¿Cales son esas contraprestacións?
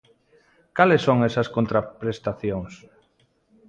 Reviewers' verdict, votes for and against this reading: accepted, 2, 0